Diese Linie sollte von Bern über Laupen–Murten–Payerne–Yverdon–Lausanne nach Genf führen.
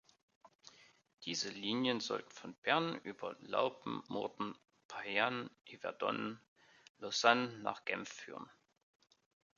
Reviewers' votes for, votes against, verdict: 1, 2, rejected